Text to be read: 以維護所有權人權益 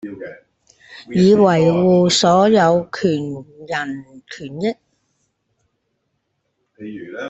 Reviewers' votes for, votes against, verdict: 0, 2, rejected